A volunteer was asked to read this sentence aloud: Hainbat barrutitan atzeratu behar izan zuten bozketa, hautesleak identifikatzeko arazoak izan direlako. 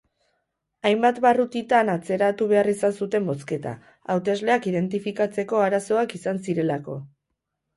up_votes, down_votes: 0, 4